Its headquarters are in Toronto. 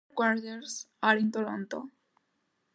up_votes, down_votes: 0, 2